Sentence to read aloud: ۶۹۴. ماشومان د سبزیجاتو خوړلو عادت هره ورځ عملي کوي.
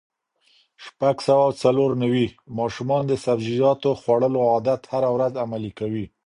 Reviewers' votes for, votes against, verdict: 0, 2, rejected